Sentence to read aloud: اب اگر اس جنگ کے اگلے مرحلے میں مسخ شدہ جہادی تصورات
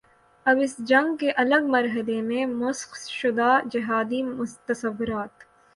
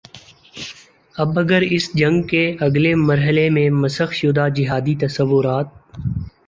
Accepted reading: second